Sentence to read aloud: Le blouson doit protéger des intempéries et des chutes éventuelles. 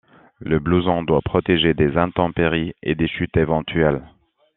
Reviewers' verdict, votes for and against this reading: accepted, 2, 1